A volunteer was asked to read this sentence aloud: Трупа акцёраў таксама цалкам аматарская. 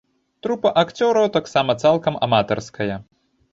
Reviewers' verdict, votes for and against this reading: accepted, 2, 0